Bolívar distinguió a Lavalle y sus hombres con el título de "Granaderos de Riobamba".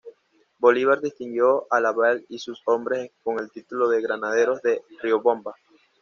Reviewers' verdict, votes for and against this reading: rejected, 1, 2